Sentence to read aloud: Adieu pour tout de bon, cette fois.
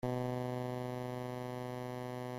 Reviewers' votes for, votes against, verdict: 0, 2, rejected